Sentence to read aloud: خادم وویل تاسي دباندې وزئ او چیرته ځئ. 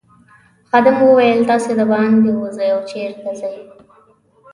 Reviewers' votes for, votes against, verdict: 0, 2, rejected